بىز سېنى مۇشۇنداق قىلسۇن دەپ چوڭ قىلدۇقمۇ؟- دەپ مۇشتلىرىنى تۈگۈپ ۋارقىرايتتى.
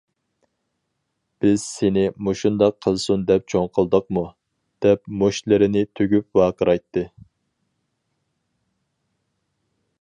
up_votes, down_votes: 4, 0